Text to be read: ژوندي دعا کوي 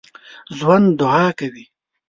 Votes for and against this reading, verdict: 1, 2, rejected